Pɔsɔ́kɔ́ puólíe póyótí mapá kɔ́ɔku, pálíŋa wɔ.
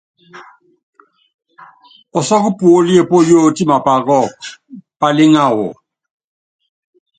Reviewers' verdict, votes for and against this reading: accepted, 2, 0